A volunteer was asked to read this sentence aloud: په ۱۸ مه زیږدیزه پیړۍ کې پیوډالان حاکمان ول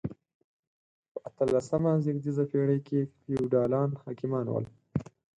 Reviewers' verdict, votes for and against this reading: rejected, 0, 2